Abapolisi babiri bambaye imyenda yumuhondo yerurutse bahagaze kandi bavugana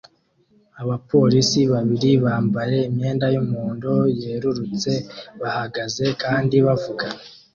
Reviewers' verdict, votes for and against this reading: accepted, 2, 0